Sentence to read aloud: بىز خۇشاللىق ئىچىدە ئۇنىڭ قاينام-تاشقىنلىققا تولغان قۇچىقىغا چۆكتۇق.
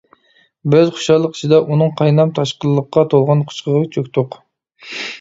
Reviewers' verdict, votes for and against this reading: accepted, 3, 0